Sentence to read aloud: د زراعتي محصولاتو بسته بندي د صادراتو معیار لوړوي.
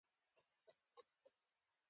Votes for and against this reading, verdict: 1, 2, rejected